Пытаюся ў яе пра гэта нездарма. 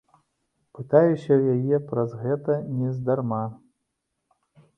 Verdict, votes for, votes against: rejected, 1, 2